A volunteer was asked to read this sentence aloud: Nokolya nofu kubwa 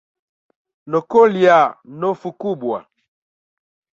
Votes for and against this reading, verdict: 1, 2, rejected